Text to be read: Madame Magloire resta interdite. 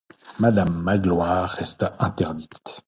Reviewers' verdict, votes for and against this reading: accepted, 2, 0